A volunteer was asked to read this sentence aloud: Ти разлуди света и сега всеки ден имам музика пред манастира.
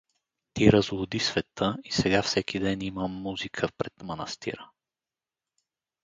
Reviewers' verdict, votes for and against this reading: rejected, 0, 2